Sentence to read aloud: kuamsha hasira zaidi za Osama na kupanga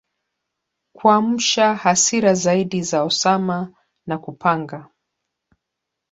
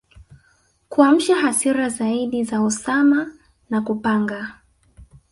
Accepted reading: first